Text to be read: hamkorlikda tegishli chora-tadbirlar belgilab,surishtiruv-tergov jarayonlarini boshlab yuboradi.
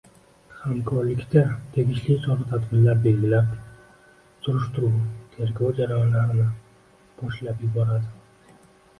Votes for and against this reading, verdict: 1, 2, rejected